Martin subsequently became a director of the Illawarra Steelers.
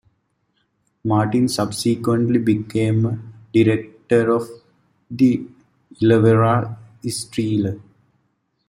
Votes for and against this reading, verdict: 0, 2, rejected